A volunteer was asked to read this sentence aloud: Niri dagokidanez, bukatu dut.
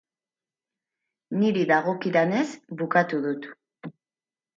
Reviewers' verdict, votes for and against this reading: accepted, 4, 0